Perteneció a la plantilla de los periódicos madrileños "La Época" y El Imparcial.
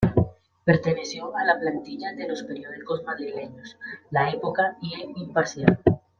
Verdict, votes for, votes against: rejected, 1, 2